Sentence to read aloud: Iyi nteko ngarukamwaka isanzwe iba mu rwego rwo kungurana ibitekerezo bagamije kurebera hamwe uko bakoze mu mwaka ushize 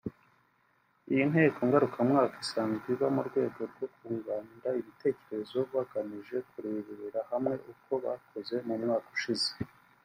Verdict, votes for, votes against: rejected, 0, 2